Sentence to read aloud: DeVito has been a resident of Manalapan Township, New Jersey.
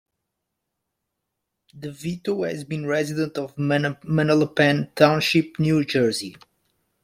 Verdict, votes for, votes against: rejected, 0, 2